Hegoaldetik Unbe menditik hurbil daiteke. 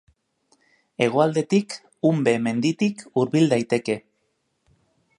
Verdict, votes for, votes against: accepted, 2, 0